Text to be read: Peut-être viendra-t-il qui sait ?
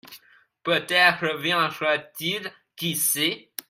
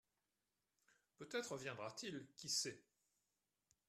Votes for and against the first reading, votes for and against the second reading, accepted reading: 0, 2, 2, 0, second